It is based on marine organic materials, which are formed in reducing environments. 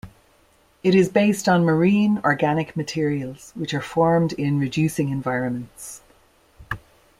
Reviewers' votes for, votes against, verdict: 2, 0, accepted